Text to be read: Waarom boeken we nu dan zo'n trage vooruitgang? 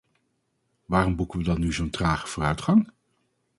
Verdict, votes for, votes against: rejected, 2, 2